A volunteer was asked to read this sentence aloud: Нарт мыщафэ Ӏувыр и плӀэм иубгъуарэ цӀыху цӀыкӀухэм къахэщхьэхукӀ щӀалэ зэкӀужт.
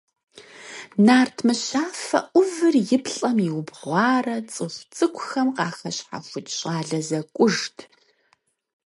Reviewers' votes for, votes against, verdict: 4, 0, accepted